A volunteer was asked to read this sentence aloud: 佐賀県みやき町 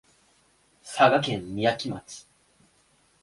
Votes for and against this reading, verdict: 1, 2, rejected